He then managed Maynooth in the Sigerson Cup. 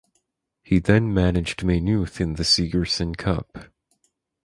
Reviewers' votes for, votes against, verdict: 4, 0, accepted